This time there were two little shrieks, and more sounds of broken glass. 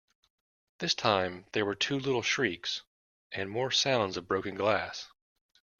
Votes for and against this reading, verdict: 2, 0, accepted